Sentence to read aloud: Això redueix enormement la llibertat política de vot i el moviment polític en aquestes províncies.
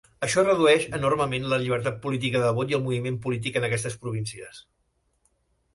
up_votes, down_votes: 3, 0